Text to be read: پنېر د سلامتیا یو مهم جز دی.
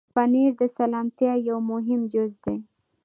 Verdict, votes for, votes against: rejected, 2, 2